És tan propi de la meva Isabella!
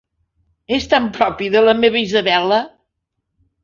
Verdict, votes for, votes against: accepted, 2, 0